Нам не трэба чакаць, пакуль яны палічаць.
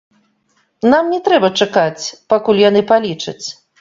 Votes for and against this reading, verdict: 1, 2, rejected